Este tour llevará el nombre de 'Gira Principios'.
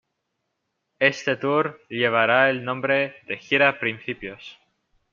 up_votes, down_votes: 2, 0